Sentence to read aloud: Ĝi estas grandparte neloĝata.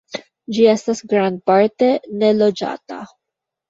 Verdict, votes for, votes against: rejected, 1, 2